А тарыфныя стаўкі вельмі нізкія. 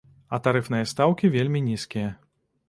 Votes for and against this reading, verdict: 2, 0, accepted